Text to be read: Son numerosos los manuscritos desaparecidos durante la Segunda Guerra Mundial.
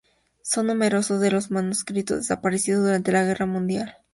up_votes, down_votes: 0, 4